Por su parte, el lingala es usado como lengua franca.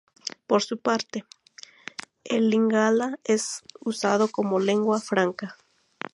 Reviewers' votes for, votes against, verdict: 2, 2, rejected